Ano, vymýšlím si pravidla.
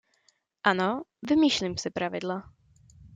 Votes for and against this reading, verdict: 2, 1, accepted